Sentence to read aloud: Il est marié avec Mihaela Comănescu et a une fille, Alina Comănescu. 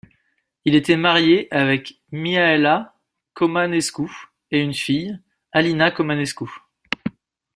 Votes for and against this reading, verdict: 1, 2, rejected